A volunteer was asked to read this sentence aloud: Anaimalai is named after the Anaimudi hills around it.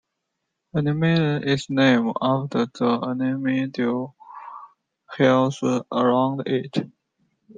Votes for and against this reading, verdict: 0, 2, rejected